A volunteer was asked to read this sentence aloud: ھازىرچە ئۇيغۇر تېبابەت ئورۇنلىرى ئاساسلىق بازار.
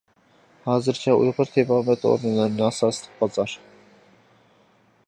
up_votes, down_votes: 0, 2